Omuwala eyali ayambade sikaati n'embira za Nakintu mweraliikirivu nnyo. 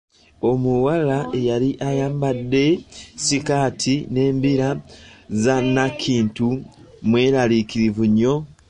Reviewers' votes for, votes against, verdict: 1, 2, rejected